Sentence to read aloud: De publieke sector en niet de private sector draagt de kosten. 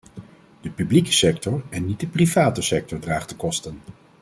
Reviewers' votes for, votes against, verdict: 2, 1, accepted